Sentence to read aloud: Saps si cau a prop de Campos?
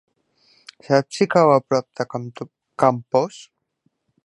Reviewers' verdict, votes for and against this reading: rejected, 1, 2